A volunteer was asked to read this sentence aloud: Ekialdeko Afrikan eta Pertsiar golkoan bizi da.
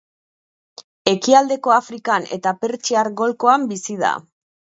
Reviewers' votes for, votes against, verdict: 3, 0, accepted